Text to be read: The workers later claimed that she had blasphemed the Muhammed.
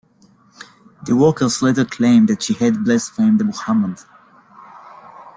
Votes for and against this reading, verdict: 2, 1, accepted